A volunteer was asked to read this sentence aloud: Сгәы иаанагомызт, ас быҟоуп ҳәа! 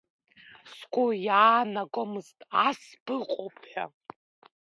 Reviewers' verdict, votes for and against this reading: accepted, 2, 1